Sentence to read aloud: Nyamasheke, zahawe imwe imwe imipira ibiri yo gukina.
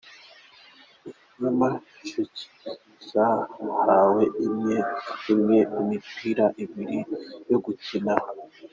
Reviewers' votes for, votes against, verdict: 2, 1, accepted